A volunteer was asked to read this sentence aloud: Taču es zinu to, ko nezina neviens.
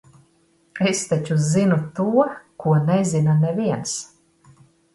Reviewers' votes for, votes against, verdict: 0, 2, rejected